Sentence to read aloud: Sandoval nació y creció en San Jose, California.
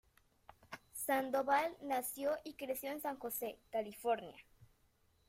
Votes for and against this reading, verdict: 2, 1, accepted